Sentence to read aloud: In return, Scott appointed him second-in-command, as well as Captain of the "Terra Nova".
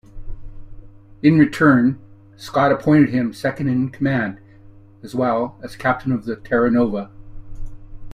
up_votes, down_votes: 2, 0